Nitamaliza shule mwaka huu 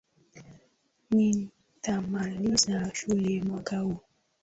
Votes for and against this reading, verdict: 0, 2, rejected